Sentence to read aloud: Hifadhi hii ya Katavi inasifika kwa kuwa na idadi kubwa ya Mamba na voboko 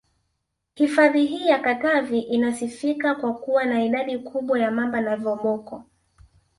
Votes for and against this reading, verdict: 1, 2, rejected